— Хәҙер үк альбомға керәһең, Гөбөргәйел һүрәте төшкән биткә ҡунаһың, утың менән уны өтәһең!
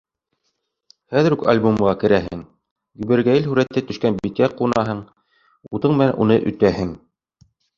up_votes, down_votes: 1, 2